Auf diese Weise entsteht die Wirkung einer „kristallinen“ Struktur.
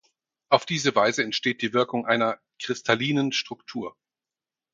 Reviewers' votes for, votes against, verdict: 4, 0, accepted